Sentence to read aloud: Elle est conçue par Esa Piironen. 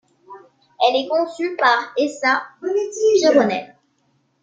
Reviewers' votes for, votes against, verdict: 0, 2, rejected